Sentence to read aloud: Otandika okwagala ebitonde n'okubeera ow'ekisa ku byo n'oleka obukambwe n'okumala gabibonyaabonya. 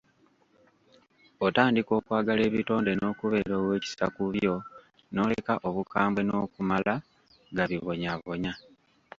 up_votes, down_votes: 1, 2